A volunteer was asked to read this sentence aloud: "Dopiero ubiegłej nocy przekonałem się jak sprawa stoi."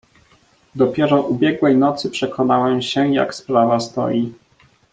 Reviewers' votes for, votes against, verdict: 1, 2, rejected